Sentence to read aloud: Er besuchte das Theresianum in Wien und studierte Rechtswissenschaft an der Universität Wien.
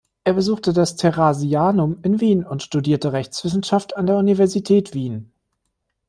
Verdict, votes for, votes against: rejected, 0, 2